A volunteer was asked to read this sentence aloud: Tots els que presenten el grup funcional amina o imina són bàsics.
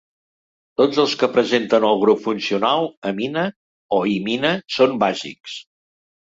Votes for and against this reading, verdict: 2, 0, accepted